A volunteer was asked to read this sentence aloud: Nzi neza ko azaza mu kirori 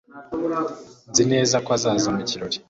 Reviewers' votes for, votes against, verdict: 2, 0, accepted